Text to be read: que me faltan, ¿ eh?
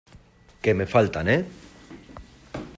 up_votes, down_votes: 2, 0